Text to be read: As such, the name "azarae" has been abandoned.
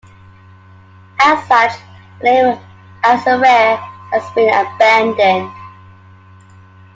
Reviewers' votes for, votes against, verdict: 1, 2, rejected